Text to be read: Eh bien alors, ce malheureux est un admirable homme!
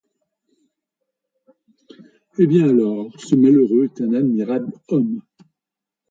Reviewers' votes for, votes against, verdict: 2, 1, accepted